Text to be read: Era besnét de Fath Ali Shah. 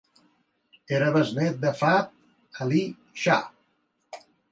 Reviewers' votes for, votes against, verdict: 2, 0, accepted